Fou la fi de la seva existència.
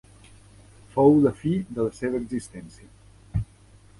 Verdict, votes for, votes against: accepted, 2, 1